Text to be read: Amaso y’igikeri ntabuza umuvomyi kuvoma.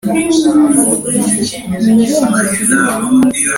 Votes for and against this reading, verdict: 1, 2, rejected